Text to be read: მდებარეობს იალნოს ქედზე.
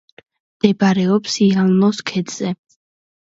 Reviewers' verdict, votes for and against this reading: accepted, 2, 0